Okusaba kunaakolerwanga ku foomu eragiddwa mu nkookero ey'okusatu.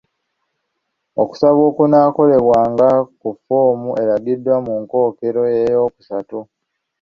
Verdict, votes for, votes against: rejected, 1, 2